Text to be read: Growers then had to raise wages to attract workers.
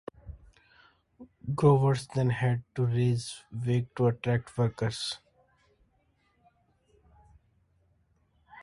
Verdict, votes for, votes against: rejected, 0, 2